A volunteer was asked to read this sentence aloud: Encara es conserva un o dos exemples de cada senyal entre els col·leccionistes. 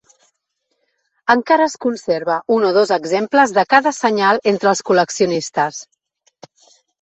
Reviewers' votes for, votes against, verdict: 3, 0, accepted